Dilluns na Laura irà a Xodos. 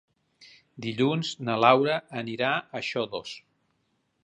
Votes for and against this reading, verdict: 0, 2, rejected